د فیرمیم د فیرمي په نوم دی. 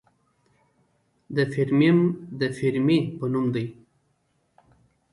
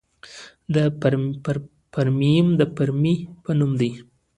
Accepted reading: first